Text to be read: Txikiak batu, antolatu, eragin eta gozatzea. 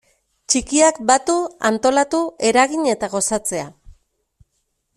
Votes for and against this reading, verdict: 2, 0, accepted